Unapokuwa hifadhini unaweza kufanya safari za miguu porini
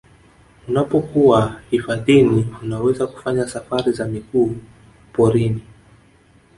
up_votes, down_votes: 2, 0